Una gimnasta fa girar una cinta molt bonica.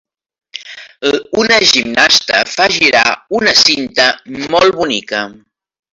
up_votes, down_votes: 3, 1